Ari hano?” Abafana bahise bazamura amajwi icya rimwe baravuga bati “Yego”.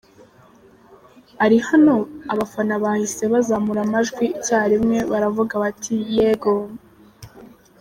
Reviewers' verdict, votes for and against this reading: accepted, 2, 1